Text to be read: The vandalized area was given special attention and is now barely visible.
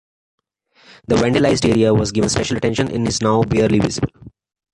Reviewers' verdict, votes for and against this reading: rejected, 1, 2